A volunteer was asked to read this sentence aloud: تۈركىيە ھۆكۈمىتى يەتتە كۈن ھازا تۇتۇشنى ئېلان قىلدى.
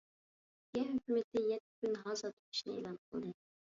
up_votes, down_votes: 1, 2